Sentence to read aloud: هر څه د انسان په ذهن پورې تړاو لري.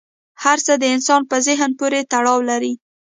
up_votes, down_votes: 0, 2